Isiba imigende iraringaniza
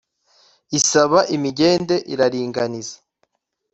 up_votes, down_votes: 1, 2